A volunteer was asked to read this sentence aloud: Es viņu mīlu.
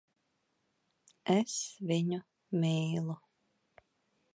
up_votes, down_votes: 2, 0